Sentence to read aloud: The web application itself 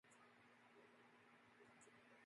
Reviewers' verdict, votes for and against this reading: rejected, 0, 3